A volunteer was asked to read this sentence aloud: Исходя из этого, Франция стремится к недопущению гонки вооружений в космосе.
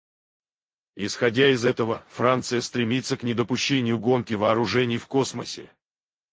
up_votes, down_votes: 0, 2